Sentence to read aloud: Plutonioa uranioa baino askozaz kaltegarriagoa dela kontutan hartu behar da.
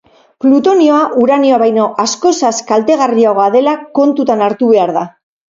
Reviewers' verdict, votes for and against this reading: accepted, 4, 0